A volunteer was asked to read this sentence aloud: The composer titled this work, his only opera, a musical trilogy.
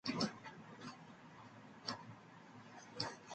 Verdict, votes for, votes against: rejected, 0, 2